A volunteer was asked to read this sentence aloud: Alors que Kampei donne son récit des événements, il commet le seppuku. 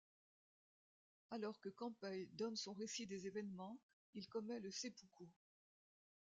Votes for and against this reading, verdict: 1, 2, rejected